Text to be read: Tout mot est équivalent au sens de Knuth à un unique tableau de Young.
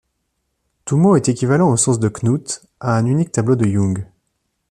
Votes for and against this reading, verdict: 2, 0, accepted